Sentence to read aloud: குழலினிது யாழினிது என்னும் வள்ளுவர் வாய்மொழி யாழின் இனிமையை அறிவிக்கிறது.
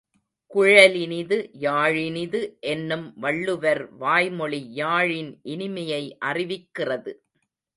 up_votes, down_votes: 1, 2